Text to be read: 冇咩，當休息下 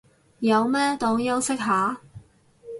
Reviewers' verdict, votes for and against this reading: rejected, 2, 2